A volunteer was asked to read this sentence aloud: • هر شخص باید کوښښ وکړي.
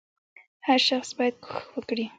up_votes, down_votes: 2, 1